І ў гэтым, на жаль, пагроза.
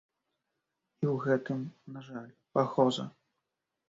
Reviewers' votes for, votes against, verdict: 2, 0, accepted